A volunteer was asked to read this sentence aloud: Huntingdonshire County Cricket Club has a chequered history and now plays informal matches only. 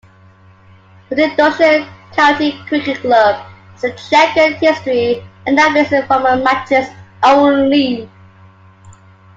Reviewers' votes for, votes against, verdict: 2, 0, accepted